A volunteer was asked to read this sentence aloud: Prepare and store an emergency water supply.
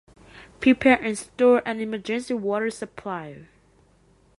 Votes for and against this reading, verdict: 2, 1, accepted